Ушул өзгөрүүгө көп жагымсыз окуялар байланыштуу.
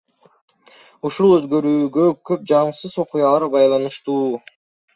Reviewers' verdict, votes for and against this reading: accepted, 2, 0